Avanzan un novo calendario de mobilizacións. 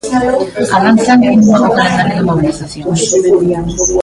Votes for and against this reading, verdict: 1, 2, rejected